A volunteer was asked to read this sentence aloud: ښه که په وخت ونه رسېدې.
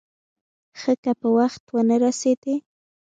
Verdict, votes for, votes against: rejected, 1, 2